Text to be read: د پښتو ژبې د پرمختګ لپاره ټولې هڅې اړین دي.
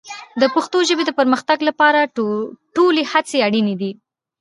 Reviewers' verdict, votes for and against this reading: accepted, 2, 0